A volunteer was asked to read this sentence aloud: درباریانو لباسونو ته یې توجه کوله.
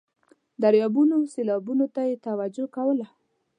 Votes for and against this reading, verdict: 0, 2, rejected